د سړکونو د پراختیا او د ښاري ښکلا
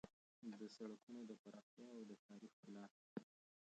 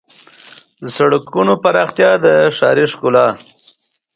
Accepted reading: second